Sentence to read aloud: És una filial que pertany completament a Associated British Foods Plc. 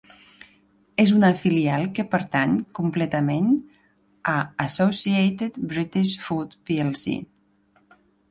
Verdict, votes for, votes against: accepted, 2, 0